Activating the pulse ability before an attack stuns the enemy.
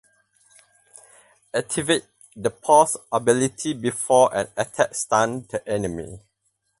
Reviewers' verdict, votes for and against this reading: rejected, 2, 4